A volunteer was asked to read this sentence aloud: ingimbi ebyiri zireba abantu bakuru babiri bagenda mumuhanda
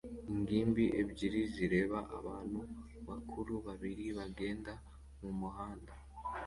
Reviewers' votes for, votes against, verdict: 0, 2, rejected